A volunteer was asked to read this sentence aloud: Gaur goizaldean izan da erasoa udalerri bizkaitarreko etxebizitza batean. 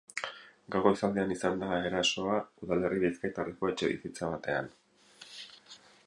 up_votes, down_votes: 2, 4